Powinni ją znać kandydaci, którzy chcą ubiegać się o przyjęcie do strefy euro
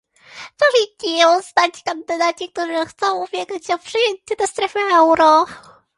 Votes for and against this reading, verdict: 2, 0, accepted